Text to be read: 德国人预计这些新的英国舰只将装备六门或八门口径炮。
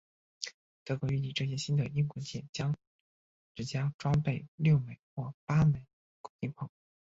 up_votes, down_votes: 1, 2